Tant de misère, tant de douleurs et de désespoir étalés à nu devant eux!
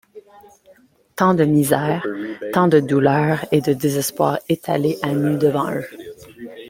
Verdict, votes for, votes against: accepted, 2, 1